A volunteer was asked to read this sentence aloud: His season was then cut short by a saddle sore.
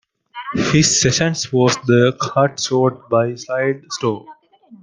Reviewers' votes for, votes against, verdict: 0, 2, rejected